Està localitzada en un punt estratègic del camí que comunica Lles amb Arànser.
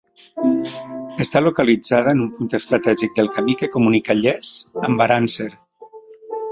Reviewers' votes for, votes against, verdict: 1, 2, rejected